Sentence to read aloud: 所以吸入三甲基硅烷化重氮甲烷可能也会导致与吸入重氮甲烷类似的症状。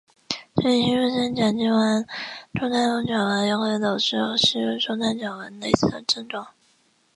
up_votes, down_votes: 0, 2